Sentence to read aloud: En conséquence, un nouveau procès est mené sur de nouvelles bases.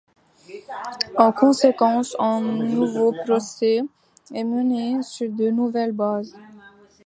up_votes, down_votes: 1, 2